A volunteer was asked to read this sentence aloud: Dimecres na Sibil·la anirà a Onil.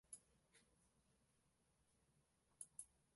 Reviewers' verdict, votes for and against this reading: rejected, 1, 2